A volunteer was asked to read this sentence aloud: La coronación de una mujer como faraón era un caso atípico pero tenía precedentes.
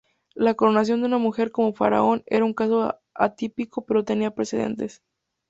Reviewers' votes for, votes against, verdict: 2, 0, accepted